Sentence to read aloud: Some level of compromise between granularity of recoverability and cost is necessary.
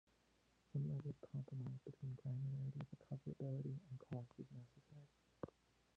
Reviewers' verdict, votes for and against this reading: rejected, 1, 2